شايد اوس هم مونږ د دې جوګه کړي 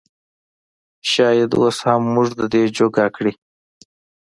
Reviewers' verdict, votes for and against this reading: accepted, 2, 0